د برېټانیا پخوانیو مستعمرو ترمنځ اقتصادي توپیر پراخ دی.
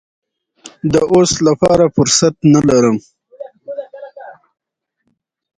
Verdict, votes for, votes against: rejected, 1, 2